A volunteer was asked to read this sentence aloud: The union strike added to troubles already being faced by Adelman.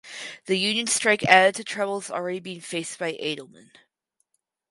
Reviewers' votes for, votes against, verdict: 4, 0, accepted